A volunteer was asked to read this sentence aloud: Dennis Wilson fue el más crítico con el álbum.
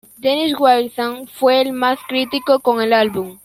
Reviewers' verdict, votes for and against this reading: accepted, 2, 0